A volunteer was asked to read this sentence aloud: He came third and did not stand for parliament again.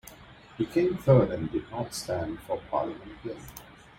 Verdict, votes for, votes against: accepted, 2, 0